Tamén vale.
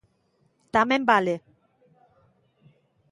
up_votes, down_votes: 2, 0